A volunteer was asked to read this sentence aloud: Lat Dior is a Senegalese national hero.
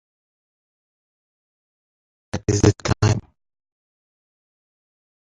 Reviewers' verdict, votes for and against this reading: rejected, 0, 2